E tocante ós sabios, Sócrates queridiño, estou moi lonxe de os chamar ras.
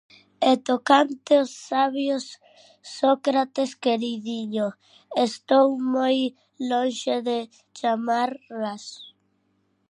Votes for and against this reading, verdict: 0, 2, rejected